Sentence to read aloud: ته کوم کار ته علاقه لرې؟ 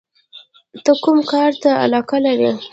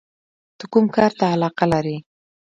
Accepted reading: first